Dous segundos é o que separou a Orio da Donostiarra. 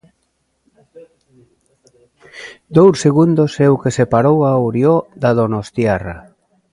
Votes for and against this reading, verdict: 0, 2, rejected